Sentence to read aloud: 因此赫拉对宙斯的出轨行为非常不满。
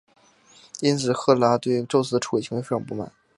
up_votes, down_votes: 4, 3